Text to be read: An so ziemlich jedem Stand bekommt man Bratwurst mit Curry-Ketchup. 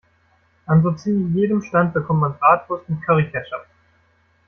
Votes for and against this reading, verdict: 2, 1, accepted